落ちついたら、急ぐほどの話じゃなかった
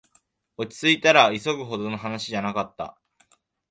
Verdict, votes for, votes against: accepted, 2, 0